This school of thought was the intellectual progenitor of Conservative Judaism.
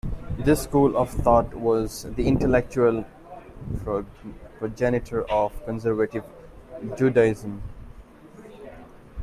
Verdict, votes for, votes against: rejected, 0, 2